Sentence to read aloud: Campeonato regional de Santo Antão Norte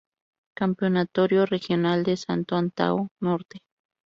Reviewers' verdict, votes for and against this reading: rejected, 0, 2